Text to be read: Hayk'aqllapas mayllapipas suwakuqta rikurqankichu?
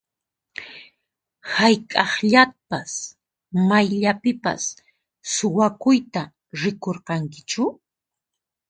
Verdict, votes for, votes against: rejected, 0, 4